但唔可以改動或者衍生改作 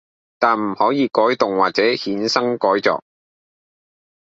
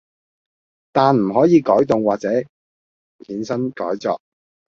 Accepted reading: first